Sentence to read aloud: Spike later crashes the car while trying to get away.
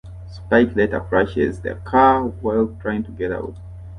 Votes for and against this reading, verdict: 2, 0, accepted